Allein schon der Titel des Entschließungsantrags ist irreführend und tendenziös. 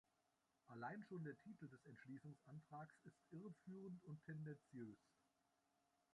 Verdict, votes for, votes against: rejected, 0, 2